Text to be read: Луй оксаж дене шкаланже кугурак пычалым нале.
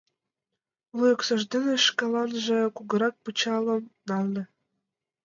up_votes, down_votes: 2, 0